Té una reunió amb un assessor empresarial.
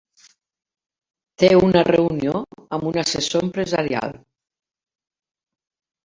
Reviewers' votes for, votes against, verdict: 3, 1, accepted